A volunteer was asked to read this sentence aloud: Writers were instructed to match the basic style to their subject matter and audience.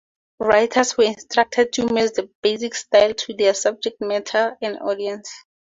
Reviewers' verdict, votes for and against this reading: accepted, 2, 0